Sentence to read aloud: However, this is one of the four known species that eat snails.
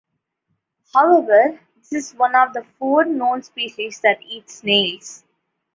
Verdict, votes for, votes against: rejected, 1, 2